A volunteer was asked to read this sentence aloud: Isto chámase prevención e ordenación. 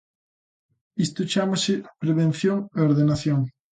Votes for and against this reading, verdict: 2, 0, accepted